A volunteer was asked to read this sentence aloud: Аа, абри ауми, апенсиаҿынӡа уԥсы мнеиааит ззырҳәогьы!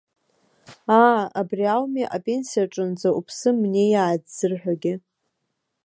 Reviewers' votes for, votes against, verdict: 2, 0, accepted